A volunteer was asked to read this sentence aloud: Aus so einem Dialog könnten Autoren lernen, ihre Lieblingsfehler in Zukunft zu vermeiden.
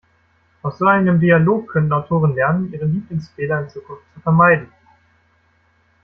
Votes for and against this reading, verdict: 1, 2, rejected